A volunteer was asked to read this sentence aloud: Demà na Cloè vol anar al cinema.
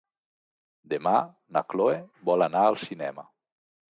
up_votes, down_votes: 2, 0